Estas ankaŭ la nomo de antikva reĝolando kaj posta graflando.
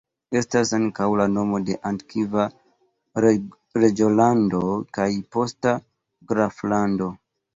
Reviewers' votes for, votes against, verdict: 1, 2, rejected